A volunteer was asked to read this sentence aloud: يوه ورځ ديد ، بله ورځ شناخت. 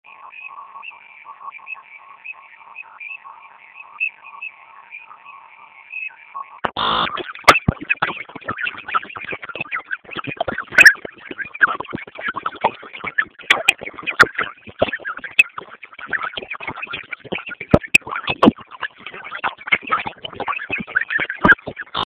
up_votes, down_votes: 0, 2